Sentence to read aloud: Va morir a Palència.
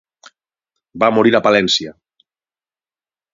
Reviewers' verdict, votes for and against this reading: rejected, 3, 3